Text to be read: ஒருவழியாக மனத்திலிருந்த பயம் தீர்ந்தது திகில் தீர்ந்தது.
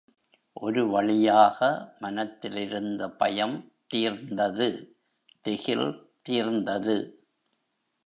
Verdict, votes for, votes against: rejected, 0, 2